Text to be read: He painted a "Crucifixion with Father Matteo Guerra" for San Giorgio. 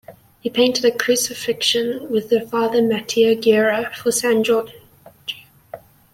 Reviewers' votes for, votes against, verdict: 1, 2, rejected